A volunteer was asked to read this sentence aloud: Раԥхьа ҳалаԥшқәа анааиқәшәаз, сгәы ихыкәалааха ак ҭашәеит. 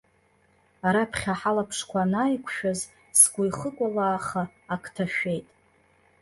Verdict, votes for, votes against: accepted, 2, 0